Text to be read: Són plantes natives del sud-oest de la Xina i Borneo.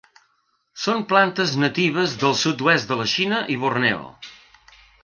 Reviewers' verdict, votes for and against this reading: accepted, 5, 0